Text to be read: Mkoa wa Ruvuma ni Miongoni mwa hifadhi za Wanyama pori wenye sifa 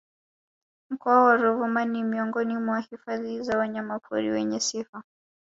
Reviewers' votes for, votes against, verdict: 2, 1, accepted